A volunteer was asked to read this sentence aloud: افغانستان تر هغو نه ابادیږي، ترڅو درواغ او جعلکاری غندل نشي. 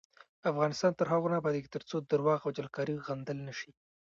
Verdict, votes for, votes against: rejected, 0, 2